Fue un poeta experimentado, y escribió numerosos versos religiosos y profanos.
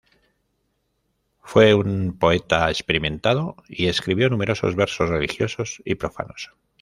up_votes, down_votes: 1, 2